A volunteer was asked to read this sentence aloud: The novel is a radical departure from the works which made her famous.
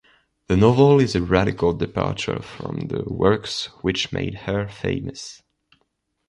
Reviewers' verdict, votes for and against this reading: accepted, 2, 0